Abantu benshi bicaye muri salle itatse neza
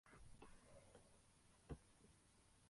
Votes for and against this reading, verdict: 0, 2, rejected